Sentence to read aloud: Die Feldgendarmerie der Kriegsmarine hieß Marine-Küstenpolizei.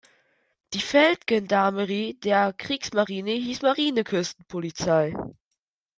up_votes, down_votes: 0, 3